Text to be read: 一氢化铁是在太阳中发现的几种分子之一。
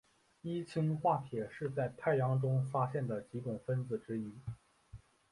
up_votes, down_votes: 2, 4